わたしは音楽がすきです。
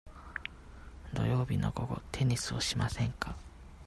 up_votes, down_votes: 0, 2